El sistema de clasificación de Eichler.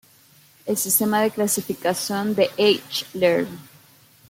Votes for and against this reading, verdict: 2, 0, accepted